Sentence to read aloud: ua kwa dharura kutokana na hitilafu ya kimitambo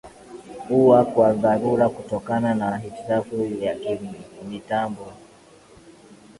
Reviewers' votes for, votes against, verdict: 2, 0, accepted